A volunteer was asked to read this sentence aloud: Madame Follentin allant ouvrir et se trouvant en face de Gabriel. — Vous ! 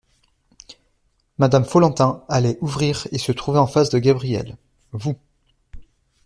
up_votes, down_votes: 1, 2